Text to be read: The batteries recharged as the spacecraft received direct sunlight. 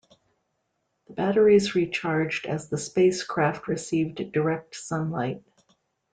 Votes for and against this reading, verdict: 2, 0, accepted